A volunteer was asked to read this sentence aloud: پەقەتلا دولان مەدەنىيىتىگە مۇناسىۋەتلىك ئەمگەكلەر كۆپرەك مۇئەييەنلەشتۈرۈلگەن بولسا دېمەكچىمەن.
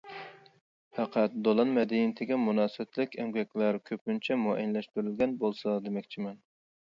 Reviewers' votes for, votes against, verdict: 0, 2, rejected